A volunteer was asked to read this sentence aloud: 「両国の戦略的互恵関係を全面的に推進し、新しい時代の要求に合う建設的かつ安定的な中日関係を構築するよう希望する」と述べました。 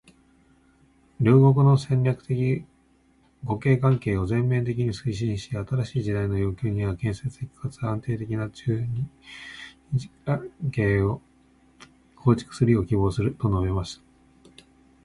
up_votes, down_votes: 1, 2